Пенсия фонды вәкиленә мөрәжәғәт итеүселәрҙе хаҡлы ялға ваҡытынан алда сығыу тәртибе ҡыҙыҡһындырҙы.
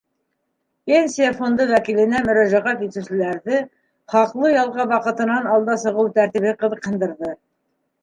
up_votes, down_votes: 2, 0